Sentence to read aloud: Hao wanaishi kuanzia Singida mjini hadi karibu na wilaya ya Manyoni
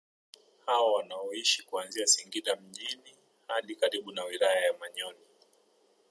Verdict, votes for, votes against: accepted, 2, 0